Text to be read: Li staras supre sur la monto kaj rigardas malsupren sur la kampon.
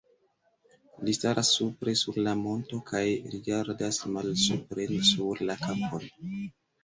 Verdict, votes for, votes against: rejected, 1, 2